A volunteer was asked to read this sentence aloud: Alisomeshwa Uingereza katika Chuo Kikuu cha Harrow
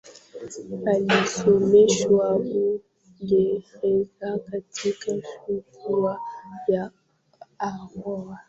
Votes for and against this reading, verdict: 0, 2, rejected